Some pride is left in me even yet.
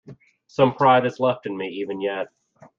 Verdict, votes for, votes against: accepted, 2, 0